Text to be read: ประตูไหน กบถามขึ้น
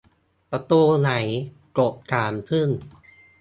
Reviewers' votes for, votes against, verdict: 1, 2, rejected